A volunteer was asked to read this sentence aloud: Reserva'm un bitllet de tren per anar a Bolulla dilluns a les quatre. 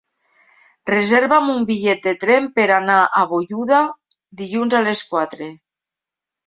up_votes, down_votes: 0, 3